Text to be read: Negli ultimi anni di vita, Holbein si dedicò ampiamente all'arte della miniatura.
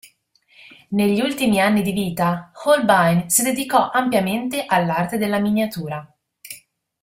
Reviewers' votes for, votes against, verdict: 2, 0, accepted